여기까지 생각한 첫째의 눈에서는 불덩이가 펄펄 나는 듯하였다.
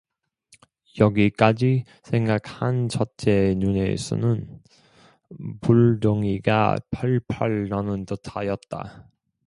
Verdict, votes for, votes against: accepted, 2, 1